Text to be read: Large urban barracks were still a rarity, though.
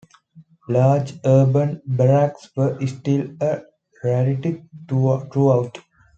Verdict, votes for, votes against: rejected, 1, 2